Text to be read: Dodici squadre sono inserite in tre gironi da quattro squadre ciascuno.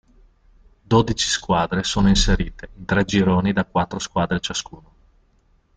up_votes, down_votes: 0, 2